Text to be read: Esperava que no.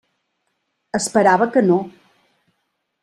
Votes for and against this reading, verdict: 3, 0, accepted